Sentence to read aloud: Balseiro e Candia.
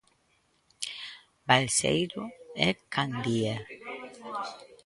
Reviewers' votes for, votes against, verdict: 0, 2, rejected